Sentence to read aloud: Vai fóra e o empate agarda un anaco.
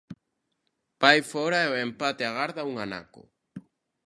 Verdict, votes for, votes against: accepted, 2, 0